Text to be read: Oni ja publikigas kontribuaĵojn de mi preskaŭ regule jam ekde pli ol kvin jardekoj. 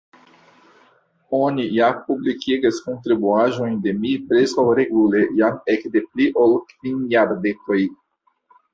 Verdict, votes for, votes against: accepted, 2, 0